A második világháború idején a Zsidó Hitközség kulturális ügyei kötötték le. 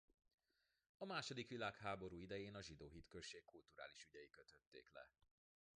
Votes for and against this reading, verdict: 0, 2, rejected